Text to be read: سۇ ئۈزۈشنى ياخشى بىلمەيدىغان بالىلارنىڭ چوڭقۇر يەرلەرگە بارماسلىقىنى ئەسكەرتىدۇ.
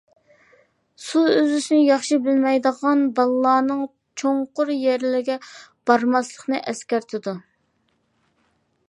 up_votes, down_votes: 0, 2